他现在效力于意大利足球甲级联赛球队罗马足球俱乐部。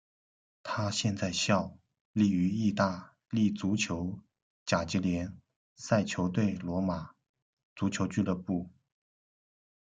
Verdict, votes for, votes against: rejected, 1, 2